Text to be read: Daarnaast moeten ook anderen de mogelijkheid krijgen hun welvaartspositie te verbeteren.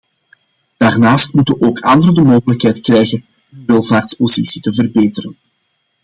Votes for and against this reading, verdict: 2, 1, accepted